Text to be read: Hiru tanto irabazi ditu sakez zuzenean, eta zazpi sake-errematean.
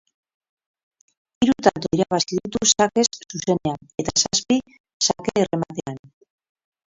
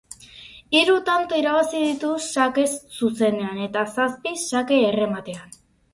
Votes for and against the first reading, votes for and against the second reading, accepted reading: 0, 4, 6, 0, second